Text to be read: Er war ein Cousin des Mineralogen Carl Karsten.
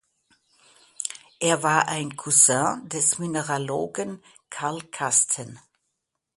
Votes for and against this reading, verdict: 2, 0, accepted